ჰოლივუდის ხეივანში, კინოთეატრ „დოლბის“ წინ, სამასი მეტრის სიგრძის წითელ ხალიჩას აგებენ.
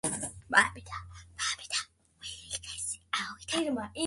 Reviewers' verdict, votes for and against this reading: rejected, 0, 2